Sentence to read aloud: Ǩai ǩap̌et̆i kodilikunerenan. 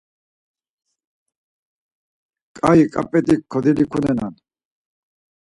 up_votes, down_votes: 2, 4